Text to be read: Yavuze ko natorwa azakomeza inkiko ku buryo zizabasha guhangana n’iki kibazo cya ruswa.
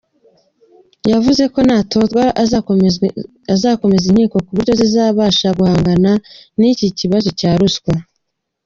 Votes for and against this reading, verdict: 0, 2, rejected